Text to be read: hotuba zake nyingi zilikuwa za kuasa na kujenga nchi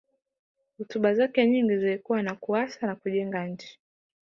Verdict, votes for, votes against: accepted, 2, 0